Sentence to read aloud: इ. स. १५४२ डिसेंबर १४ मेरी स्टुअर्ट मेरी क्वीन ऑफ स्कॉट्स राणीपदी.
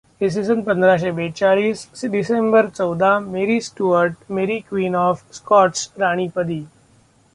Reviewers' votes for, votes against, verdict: 0, 2, rejected